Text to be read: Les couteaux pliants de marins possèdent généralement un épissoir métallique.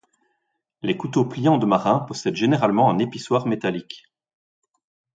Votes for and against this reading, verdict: 4, 0, accepted